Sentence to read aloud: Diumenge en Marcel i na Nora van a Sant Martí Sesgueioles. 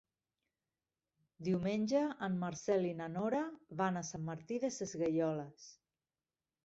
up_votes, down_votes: 0, 2